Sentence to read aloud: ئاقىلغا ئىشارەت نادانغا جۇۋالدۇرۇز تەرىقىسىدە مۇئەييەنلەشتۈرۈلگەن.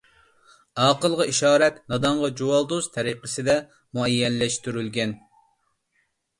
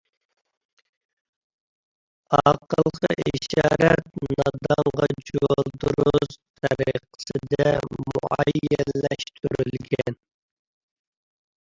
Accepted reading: first